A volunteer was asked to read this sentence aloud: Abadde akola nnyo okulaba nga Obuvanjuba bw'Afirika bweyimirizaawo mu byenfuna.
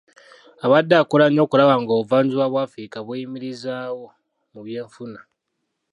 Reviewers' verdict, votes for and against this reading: rejected, 0, 2